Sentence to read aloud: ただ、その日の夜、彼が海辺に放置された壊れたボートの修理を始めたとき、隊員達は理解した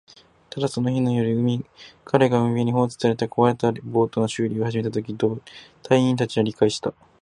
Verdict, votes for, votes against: rejected, 0, 4